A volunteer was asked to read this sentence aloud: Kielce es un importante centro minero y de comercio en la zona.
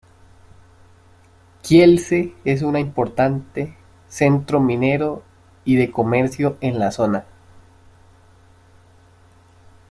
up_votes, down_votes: 1, 2